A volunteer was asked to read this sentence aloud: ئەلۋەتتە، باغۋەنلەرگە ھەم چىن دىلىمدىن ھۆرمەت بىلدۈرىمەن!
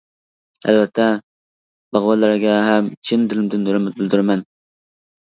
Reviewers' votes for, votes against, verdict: 0, 2, rejected